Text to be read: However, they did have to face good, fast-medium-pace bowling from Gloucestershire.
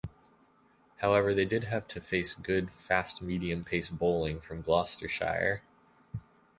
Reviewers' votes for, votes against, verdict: 2, 0, accepted